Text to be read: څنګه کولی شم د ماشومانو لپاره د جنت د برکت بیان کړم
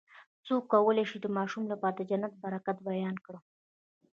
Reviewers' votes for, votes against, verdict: 1, 2, rejected